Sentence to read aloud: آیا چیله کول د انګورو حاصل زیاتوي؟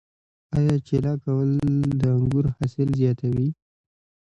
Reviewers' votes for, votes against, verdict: 0, 2, rejected